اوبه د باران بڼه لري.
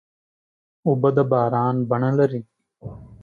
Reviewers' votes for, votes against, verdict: 2, 0, accepted